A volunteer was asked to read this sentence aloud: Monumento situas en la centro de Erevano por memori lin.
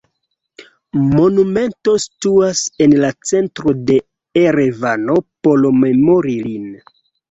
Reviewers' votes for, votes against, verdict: 2, 0, accepted